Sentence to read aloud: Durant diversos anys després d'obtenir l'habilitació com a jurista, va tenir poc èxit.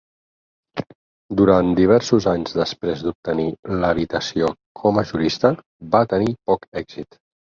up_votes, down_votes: 2, 6